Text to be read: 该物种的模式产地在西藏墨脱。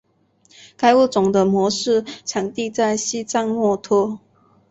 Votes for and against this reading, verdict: 3, 0, accepted